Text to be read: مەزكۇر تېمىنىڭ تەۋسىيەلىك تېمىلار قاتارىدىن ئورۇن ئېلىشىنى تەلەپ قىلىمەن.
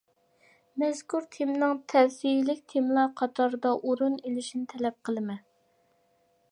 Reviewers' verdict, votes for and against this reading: rejected, 0, 2